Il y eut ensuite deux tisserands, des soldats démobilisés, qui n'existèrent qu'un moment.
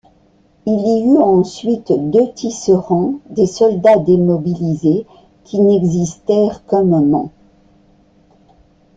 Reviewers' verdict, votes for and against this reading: accepted, 2, 1